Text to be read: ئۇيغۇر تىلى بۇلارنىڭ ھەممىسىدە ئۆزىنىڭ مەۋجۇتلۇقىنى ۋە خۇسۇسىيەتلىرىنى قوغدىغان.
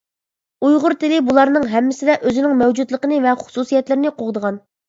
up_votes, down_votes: 2, 0